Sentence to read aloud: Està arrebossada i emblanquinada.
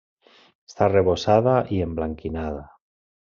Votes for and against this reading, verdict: 0, 2, rejected